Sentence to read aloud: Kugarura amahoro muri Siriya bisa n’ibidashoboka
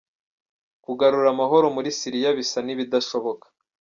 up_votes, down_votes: 2, 0